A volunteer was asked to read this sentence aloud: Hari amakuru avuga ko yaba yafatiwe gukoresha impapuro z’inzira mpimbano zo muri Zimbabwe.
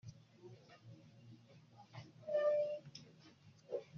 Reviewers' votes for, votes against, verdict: 1, 2, rejected